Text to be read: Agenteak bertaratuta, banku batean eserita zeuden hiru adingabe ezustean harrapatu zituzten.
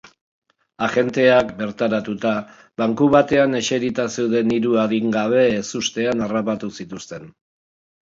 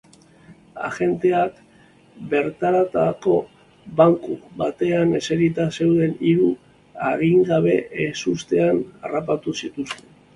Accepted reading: first